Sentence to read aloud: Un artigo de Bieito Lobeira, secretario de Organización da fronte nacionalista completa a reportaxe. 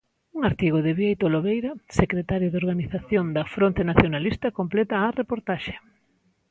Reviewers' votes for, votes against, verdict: 2, 0, accepted